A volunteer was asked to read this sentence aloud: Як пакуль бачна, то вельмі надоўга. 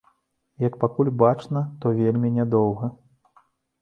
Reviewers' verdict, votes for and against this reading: rejected, 0, 2